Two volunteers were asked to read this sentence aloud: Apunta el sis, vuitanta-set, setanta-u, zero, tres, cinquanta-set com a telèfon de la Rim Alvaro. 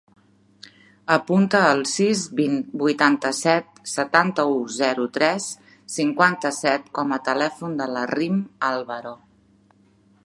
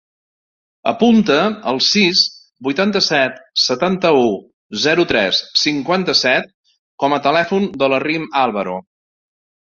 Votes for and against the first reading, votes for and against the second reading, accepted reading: 1, 2, 2, 0, second